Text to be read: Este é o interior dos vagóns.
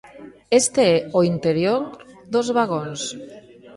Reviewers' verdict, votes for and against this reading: accepted, 2, 0